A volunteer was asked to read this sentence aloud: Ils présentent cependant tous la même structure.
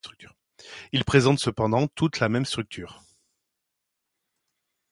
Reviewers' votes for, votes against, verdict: 0, 2, rejected